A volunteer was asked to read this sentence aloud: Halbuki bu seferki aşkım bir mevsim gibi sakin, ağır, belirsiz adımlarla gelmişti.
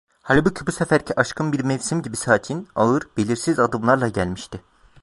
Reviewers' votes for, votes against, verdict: 2, 0, accepted